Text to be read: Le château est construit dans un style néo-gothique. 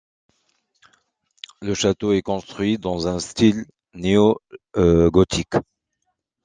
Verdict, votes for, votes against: rejected, 0, 2